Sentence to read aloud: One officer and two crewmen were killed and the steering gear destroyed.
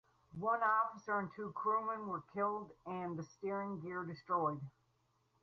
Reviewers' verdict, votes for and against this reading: accepted, 4, 0